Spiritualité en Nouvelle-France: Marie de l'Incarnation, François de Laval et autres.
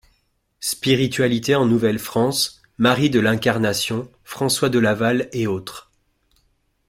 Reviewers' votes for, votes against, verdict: 2, 0, accepted